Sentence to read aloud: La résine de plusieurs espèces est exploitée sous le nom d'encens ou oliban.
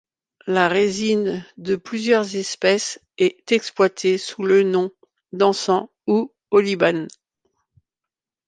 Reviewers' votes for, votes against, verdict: 2, 0, accepted